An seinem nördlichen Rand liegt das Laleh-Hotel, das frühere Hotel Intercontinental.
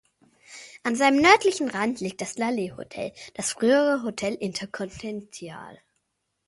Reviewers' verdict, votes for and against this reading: rejected, 0, 2